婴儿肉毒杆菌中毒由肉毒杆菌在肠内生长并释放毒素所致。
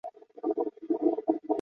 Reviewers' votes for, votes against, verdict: 0, 2, rejected